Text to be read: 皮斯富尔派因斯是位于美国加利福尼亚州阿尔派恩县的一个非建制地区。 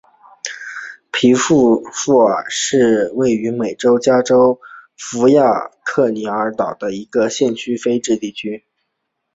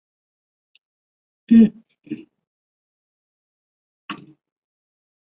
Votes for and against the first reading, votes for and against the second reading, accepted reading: 2, 1, 0, 2, first